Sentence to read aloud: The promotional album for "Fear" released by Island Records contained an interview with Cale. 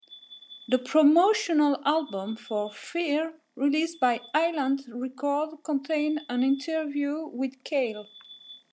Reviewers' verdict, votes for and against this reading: rejected, 0, 2